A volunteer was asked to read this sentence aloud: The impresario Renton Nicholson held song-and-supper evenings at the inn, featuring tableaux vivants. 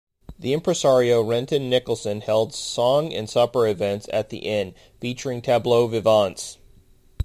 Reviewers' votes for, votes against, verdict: 0, 2, rejected